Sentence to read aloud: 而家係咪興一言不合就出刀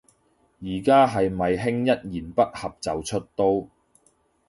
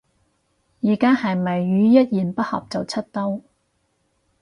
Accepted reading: first